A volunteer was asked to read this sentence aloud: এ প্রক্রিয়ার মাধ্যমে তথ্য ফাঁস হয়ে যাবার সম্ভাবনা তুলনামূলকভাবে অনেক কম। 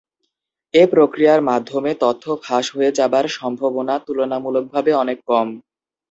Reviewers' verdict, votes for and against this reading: accepted, 2, 0